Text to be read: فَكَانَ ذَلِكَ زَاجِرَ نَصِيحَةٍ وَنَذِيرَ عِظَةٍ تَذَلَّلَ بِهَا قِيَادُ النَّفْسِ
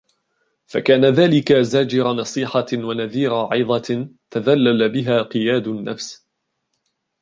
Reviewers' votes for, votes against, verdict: 1, 2, rejected